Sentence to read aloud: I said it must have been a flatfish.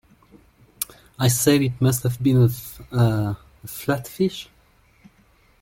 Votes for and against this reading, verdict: 1, 2, rejected